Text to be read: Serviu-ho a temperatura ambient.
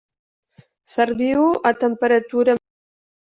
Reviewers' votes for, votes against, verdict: 0, 2, rejected